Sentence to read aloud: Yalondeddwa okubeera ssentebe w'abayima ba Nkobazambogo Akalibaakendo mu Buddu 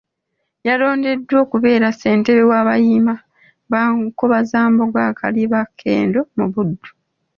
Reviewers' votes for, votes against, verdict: 2, 1, accepted